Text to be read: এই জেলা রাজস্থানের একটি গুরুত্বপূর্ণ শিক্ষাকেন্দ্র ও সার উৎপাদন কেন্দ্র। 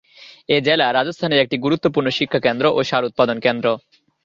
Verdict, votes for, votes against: accepted, 2, 1